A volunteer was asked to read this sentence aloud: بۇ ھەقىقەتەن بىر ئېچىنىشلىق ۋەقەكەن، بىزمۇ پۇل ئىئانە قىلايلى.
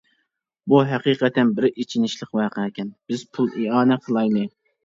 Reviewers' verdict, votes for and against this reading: rejected, 0, 2